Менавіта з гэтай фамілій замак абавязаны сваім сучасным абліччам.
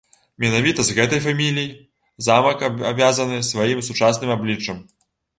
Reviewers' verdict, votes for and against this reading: rejected, 0, 2